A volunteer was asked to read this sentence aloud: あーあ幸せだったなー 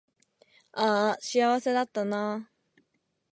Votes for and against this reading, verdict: 12, 2, accepted